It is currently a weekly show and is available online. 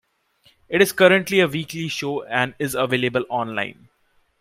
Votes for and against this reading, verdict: 0, 2, rejected